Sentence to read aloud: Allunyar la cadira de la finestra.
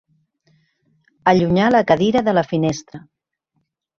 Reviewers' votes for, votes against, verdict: 2, 0, accepted